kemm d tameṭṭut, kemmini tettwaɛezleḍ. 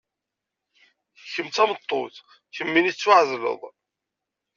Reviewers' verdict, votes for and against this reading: accepted, 2, 0